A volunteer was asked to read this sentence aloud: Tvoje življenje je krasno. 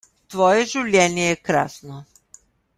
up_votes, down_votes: 1, 2